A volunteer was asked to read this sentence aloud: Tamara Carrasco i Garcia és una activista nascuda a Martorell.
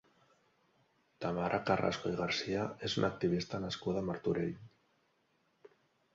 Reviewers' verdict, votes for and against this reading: accepted, 3, 0